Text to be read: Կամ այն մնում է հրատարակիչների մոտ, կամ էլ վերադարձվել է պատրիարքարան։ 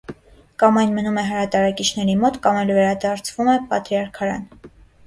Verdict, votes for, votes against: rejected, 0, 2